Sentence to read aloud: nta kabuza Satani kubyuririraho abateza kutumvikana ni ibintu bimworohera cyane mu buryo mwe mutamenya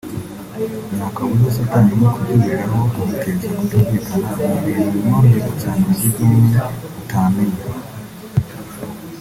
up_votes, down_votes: 1, 2